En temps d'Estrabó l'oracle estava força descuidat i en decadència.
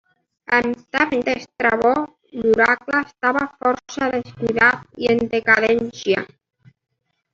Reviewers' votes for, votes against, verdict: 1, 2, rejected